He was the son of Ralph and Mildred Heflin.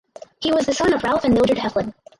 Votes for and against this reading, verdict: 0, 2, rejected